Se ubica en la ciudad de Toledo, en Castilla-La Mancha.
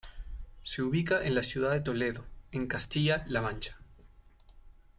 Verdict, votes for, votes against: accepted, 2, 0